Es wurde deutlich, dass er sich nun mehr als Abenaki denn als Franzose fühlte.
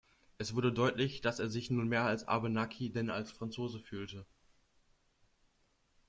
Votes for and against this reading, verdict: 2, 0, accepted